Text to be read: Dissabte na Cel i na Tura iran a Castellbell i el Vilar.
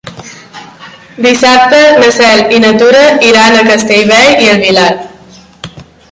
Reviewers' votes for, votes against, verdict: 2, 0, accepted